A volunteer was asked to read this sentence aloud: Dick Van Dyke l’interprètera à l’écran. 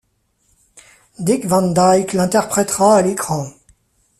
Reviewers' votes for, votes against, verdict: 1, 2, rejected